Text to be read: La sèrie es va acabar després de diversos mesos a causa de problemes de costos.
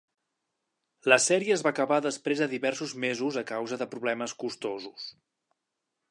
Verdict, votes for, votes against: rejected, 1, 2